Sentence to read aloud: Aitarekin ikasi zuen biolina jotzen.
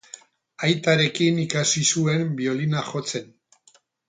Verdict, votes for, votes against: accepted, 6, 0